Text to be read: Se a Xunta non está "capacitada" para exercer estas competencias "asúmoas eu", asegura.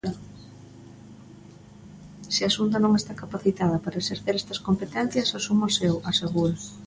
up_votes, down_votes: 2, 0